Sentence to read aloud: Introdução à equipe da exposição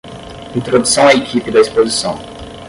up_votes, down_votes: 5, 5